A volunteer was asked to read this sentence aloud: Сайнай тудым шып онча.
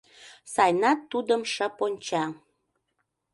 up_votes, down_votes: 0, 2